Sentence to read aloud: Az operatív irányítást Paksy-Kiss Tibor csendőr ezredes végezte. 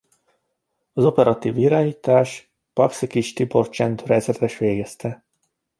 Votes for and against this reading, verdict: 1, 2, rejected